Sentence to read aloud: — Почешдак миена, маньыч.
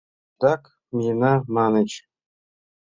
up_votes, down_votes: 1, 2